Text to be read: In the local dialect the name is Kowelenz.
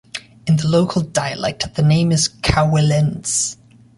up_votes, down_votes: 2, 0